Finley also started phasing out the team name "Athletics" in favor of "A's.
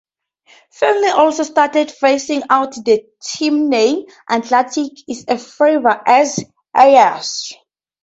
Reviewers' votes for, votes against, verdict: 0, 2, rejected